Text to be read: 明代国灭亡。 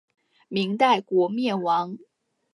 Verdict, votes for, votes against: accepted, 7, 0